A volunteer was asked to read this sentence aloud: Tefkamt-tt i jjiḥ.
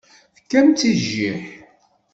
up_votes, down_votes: 1, 2